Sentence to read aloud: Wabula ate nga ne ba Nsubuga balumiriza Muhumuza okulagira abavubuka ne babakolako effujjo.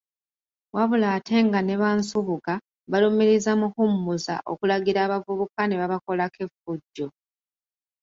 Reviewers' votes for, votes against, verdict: 2, 0, accepted